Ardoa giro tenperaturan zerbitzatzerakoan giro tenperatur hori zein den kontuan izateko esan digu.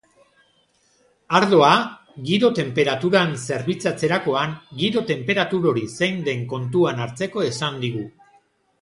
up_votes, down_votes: 1, 2